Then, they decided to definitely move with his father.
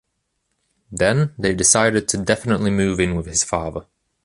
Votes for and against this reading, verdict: 0, 2, rejected